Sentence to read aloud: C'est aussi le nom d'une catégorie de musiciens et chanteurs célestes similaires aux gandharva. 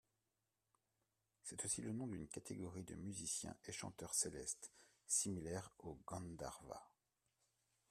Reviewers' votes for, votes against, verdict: 2, 0, accepted